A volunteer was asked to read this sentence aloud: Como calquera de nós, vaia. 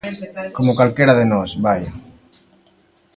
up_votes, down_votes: 1, 2